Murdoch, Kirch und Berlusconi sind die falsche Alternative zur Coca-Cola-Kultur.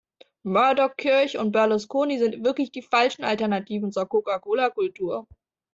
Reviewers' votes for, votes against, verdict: 0, 2, rejected